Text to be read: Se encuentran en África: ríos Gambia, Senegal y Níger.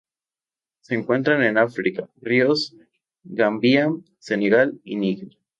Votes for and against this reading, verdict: 4, 0, accepted